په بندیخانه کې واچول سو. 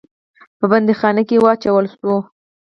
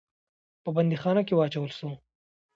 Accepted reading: second